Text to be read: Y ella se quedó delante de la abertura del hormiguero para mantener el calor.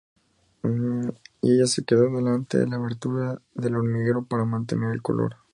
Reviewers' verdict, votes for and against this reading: accepted, 2, 0